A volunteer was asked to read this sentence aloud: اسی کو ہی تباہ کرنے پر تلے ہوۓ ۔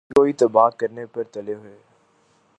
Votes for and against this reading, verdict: 0, 2, rejected